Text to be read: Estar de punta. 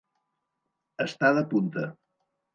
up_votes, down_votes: 2, 0